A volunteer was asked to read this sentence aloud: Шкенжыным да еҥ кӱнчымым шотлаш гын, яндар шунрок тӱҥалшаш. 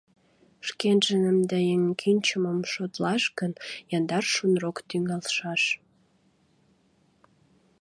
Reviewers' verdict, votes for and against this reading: accepted, 2, 0